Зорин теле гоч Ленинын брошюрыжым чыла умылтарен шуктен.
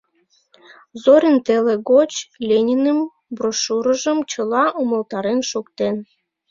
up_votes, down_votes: 2, 1